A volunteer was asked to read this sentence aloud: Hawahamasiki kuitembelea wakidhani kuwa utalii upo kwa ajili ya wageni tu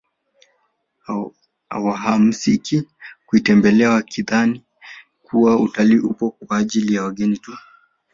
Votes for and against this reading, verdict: 2, 1, accepted